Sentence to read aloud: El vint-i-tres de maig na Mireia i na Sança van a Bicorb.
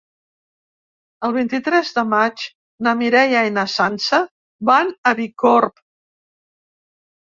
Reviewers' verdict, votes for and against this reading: accepted, 3, 0